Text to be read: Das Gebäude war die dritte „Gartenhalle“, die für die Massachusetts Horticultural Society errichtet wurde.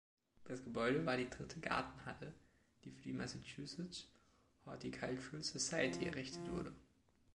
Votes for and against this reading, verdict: 2, 0, accepted